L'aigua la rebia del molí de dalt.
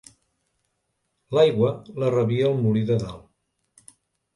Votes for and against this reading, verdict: 1, 2, rejected